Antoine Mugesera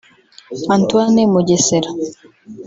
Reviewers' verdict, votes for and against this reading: rejected, 1, 2